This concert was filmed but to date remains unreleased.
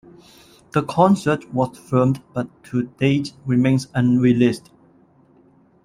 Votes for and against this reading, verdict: 0, 2, rejected